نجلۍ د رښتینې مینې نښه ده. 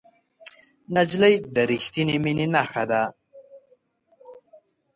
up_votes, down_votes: 2, 0